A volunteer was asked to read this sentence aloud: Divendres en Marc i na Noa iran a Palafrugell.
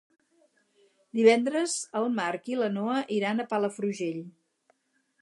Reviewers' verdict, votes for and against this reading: rejected, 0, 4